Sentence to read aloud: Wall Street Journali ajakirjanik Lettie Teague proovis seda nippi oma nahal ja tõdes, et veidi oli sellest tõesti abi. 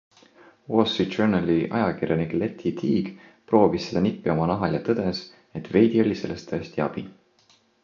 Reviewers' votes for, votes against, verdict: 2, 0, accepted